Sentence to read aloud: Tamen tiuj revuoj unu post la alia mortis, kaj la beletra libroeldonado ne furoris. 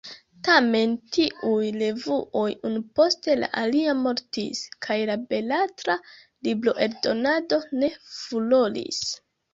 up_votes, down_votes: 2, 1